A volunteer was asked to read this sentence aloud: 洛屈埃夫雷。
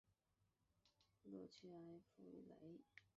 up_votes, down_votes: 5, 2